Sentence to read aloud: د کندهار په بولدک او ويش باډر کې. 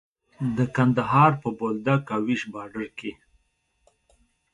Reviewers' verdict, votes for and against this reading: accepted, 2, 1